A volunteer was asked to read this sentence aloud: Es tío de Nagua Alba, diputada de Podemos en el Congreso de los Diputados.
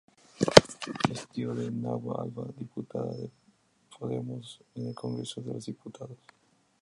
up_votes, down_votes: 0, 2